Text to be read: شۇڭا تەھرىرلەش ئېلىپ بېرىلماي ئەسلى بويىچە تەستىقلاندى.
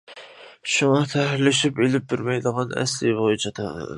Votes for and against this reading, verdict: 0, 2, rejected